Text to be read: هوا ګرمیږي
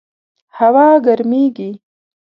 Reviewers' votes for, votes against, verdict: 2, 0, accepted